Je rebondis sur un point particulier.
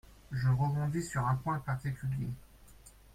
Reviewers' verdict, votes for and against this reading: accepted, 3, 0